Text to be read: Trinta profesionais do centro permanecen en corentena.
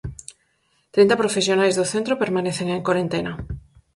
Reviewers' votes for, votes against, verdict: 4, 0, accepted